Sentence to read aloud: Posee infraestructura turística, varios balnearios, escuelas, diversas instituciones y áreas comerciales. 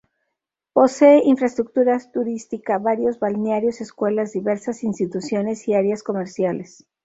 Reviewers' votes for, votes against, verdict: 2, 2, rejected